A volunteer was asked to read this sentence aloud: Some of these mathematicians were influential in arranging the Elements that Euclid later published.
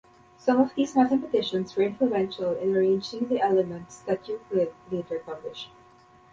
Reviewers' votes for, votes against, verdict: 0, 2, rejected